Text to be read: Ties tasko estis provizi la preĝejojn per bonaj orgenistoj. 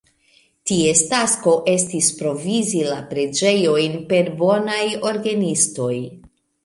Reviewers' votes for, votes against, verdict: 1, 2, rejected